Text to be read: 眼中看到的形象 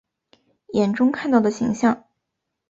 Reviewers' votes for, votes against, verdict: 4, 0, accepted